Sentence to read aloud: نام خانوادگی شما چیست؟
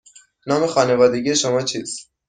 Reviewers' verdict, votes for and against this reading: accepted, 2, 0